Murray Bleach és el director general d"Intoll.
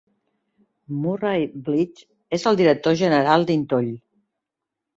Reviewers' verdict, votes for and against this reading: accepted, 2, 0